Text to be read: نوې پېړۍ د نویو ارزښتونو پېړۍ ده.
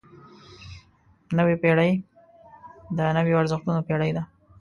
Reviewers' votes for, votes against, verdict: 2, 0, accepted